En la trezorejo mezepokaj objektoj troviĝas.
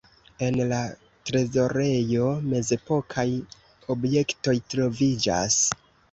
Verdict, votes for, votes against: accepted, 2, 0